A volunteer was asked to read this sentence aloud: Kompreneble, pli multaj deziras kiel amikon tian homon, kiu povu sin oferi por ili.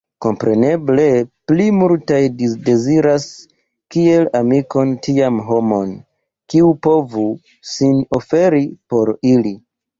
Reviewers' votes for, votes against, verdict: 1, 2, rejected